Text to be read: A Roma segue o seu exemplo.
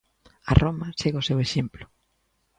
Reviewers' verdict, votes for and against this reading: accepted, 2, 0